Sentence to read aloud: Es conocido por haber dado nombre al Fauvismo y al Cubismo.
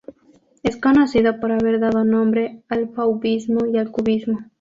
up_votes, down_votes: 4, 0